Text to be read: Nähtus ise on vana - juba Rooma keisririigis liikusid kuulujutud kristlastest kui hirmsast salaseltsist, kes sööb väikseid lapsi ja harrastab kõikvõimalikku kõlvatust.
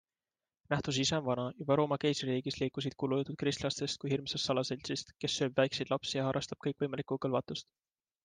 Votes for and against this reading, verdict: 2, 0, accepted